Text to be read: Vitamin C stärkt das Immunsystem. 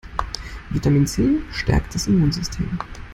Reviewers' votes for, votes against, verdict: 2, 1, accepted